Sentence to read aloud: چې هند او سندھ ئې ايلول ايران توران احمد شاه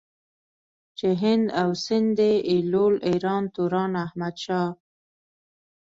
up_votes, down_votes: 1, 2